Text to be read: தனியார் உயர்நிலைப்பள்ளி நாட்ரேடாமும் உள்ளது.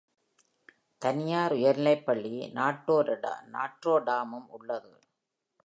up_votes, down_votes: 0, 2